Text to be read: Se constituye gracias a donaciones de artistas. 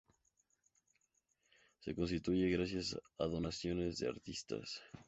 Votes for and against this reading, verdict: 2, 0, accepted